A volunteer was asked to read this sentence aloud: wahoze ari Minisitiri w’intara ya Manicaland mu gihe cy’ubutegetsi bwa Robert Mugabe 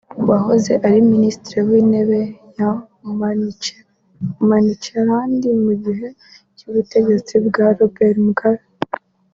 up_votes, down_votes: 0, 2